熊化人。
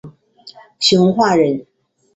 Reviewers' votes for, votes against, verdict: 6, 0, accepted